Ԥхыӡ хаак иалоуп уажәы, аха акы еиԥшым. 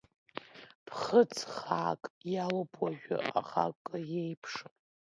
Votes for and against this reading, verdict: 2, 0, accepted